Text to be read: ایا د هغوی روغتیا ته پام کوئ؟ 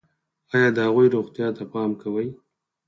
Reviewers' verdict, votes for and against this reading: rejected, 2, 4